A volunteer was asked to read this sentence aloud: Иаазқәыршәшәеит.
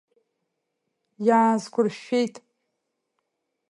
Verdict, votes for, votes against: accepted, 2, 0